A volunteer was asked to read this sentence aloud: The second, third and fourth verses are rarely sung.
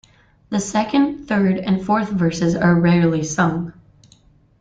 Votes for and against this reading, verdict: 2, 0, accepted